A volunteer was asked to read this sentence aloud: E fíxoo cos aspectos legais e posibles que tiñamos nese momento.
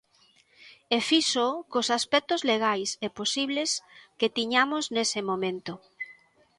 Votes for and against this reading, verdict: 2, 0, accepted